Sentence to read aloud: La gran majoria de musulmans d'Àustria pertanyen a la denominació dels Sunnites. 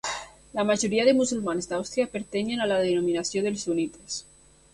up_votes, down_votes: 1, 2